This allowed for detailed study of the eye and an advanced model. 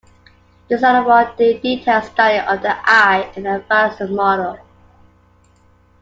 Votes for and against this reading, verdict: 2, 1, accepted